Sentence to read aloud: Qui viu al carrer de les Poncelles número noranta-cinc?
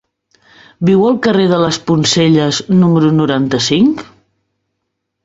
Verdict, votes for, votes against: rejected, 1, 2